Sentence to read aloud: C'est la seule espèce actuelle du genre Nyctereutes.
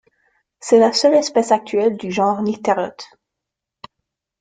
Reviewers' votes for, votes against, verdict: 2, 0, accepted